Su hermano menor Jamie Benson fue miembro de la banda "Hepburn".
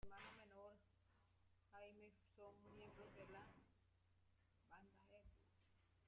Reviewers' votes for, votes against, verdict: 0, 2, rejected